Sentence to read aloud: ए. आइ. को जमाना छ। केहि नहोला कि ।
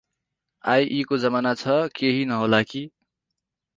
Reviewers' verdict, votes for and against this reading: rejected, 2, 4